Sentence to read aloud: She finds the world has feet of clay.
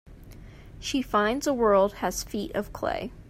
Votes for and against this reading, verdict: 1, 2, rejected